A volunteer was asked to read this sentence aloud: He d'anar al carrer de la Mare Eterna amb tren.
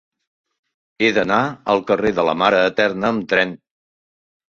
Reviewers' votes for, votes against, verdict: 4, 0, accepted